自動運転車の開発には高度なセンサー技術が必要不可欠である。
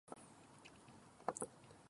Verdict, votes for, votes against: rejected, 1, 2